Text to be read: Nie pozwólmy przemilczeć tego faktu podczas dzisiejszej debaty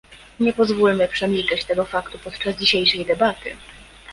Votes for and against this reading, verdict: 2, 0, accepted